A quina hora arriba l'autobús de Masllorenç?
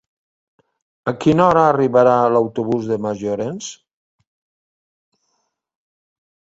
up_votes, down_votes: 0, 2